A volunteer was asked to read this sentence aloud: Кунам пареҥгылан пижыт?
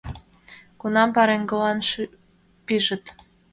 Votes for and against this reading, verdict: 1, 2, rejected